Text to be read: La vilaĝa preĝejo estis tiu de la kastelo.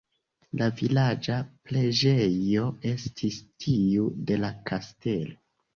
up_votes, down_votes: 2, 0